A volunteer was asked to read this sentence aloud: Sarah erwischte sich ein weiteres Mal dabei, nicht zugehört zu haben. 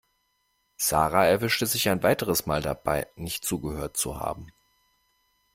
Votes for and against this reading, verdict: 2, 0, accepted